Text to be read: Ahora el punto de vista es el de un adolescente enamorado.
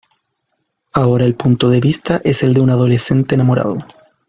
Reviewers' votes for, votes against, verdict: 2, 0, accepted